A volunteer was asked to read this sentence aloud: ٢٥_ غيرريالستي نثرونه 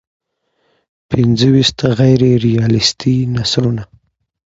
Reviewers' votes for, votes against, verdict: 0, 2, rejected